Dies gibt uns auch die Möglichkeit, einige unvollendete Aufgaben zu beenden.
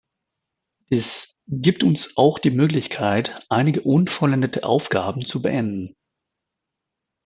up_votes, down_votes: 0, 2